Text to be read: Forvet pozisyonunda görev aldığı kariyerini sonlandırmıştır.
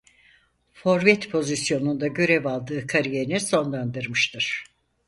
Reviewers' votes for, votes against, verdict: 2, 4, rejected